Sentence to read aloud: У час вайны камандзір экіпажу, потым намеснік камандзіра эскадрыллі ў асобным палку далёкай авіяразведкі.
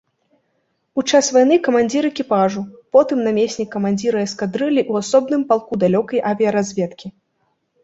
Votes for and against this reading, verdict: 2, 0, accepted